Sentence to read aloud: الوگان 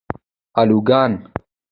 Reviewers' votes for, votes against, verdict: 1, 2, rejected